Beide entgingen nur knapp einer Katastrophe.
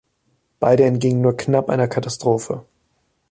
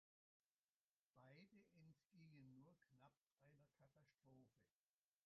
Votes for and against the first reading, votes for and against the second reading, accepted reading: 2, 0, 0, 2, first